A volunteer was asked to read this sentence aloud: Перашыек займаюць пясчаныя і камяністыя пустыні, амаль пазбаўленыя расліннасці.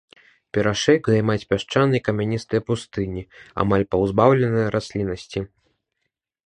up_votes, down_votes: 1, 2